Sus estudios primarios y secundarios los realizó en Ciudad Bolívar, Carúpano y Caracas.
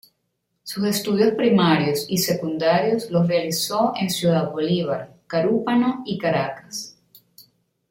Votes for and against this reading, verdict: 0, 2, rejected